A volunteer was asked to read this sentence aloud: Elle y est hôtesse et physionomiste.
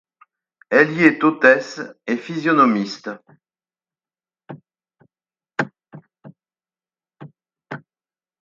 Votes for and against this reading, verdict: 4, 0, accepted